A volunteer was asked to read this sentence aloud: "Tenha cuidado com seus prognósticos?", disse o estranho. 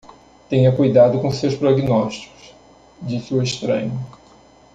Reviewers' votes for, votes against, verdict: 2, 0, accepted